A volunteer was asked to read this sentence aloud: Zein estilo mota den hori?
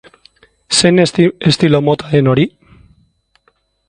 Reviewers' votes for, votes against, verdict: 1, 2, rejected